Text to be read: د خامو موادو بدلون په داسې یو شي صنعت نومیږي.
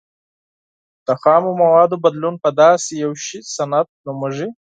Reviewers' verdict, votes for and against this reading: accepted, 4, 0